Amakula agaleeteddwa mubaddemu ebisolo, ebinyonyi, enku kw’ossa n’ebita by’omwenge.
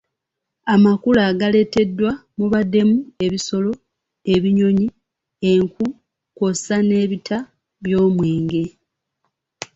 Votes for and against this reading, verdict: 3, 0, accepted